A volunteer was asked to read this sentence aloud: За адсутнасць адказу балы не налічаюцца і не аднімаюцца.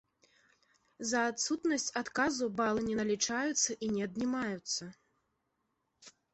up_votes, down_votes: 2, 0